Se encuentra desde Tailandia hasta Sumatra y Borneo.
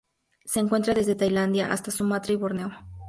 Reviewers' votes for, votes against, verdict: 2, 0, accepted